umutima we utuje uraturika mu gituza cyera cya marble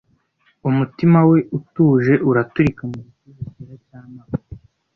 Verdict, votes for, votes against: rejected, 1, 2